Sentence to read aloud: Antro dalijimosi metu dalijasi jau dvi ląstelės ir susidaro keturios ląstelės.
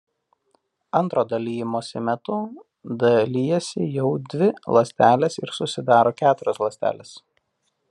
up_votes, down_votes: 2, 0